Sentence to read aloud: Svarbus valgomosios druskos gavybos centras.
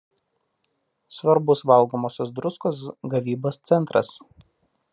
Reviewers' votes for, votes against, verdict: 2, 0, accepted